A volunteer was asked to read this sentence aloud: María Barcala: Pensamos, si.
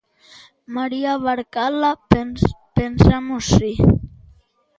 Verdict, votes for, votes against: rejected, 1, 2